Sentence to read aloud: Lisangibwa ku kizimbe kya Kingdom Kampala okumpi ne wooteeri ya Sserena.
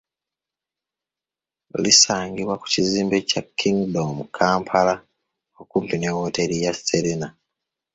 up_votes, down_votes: 2, 1